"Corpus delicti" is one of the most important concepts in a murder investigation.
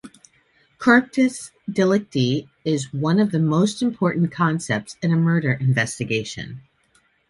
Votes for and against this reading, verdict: 2, 0, accepted